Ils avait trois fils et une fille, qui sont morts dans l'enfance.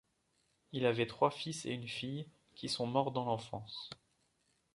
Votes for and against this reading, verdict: 0, 2, rejected